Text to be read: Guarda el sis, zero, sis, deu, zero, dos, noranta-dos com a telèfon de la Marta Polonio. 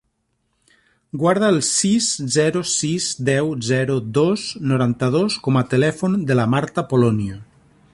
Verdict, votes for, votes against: rejected, 1, 2